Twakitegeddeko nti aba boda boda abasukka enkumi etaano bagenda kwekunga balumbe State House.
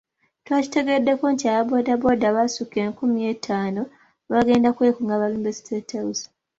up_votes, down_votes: 2, 1